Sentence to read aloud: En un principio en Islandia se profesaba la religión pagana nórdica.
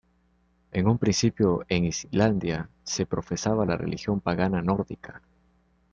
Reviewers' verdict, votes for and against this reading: accepted, 2, 0